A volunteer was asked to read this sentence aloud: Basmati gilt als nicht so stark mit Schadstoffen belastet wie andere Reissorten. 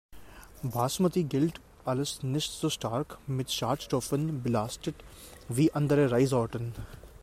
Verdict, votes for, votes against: rejected, 0, 2